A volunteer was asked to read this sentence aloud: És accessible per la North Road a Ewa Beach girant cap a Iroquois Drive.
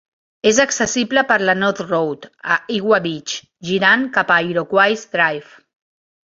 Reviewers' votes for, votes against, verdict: 2, 1, accepted